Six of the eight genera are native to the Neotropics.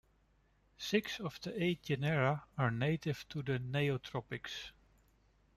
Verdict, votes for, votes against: rejected, 1, 2